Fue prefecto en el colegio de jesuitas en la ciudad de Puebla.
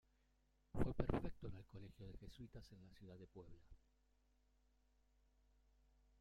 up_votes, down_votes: 0, 2